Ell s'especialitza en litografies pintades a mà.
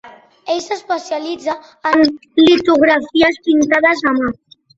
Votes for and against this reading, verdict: 2, 0, accepted